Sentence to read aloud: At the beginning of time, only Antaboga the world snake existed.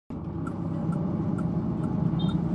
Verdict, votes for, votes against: rejected, 0, 2